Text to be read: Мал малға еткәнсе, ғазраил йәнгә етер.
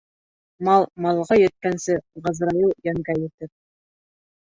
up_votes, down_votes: 1, 2